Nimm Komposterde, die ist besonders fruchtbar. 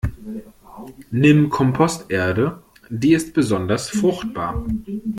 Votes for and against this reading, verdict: 2, 0, accepted